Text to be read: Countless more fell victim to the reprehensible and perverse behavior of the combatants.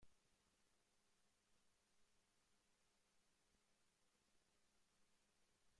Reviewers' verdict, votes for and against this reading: rejected, 0, 2